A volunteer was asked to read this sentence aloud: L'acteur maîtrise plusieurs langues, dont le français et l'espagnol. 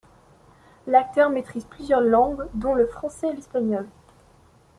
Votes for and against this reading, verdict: 2, 1, accepted